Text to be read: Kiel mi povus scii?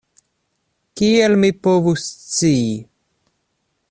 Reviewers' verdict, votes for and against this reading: accepted, 2, 0